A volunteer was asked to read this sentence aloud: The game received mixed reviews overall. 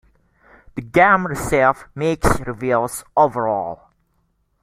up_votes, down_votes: 2, 1